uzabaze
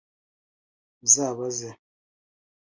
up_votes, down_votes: 2, 0